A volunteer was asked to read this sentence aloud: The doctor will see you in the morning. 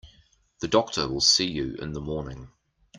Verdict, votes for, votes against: accepted, 2, 0